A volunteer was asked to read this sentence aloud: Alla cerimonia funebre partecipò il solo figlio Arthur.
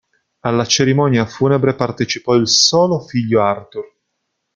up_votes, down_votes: 2, 0